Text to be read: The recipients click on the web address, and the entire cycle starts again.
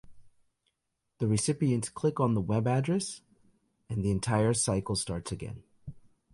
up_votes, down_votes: 2, 0